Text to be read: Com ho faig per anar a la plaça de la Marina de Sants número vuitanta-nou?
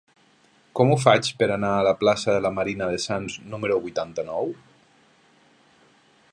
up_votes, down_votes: 1, 2